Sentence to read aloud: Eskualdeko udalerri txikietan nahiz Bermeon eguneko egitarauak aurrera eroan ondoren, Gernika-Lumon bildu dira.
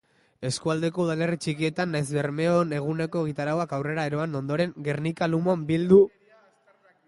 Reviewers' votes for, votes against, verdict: 0, 2, rejected